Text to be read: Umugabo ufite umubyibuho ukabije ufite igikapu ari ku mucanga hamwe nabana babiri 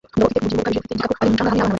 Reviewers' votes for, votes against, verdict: 0, 2, rejected